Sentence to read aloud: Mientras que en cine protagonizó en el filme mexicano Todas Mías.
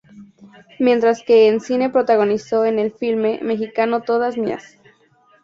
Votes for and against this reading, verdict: 0, 2, rejected